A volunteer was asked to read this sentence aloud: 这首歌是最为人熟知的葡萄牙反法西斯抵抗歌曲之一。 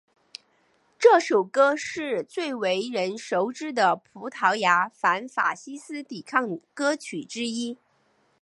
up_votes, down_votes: 6, 0